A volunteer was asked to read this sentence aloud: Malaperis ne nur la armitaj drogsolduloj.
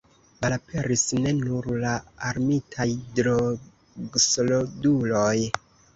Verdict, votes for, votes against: rejected, 0, 2